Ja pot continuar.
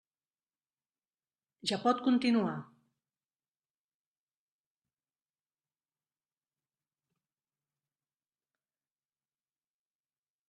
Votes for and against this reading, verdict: 3, 1, accepted